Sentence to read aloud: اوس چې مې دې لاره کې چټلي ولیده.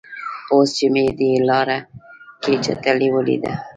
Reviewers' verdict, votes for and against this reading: rejected, 1, 2